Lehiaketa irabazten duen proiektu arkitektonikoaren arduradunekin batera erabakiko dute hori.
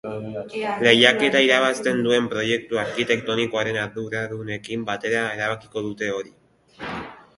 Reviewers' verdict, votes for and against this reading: rejected, 0, 2